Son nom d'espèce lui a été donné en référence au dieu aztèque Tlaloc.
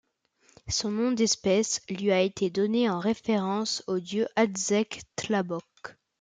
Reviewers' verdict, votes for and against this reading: rejected, 0, 2